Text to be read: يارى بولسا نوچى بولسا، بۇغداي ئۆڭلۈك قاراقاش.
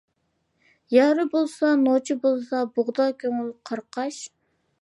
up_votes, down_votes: 0, 2